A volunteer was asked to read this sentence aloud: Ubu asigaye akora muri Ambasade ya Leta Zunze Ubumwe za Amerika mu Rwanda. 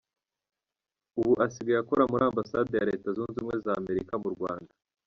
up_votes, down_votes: 2, 0